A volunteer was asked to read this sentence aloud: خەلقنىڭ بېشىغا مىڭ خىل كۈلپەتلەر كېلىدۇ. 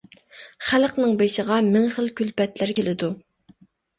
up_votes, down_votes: 2, 0